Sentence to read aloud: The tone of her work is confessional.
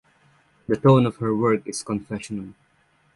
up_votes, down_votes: 0, 6